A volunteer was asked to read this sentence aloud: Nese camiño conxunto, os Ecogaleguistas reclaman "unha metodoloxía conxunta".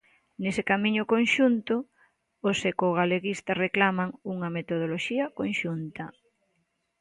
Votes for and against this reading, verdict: 2, 0, accepted